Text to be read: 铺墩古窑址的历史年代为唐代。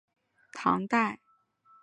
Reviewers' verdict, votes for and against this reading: accepted, 2, 0